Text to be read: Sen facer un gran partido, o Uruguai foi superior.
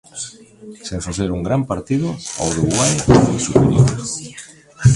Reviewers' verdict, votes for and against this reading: rejected, 1, 2